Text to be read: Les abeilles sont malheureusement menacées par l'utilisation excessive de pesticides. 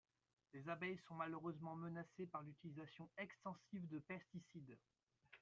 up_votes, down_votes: 0, 2